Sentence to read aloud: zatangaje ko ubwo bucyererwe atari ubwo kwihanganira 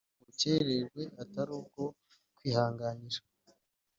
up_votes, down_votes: 2, 1